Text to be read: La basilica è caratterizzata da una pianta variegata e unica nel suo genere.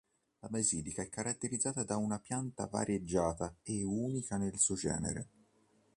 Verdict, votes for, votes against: rejected, 1, 2